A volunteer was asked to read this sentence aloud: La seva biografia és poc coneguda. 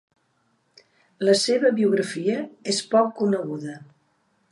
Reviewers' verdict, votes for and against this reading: accepted, 2, 0